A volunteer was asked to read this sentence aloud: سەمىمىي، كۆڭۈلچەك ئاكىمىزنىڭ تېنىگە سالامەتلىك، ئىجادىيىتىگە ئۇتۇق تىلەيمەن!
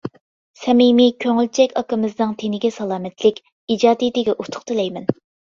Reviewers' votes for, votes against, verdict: 2, 0, accepted